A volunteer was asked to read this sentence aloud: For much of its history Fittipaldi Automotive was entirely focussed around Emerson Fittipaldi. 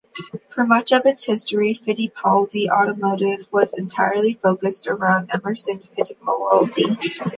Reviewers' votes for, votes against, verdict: 1, 2, rejected